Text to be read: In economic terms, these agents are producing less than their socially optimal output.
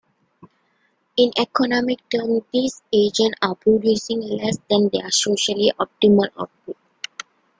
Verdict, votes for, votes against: accepted, 2, 1